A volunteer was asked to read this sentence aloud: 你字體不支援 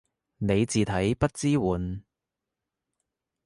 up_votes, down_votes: 2, 0